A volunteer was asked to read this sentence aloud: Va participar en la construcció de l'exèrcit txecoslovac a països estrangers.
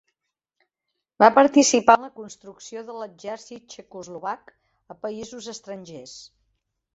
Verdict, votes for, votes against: rejected, 0, 2